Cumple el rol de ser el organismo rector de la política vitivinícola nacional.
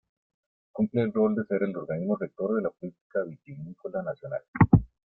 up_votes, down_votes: 1, 3